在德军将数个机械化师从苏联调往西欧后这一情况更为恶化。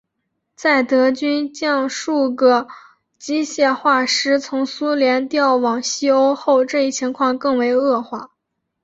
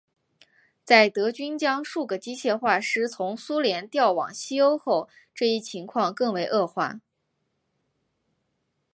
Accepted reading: first